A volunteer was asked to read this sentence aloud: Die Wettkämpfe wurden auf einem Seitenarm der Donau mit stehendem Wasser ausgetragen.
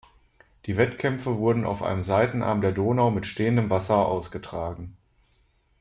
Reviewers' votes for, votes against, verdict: 2, 0, accepted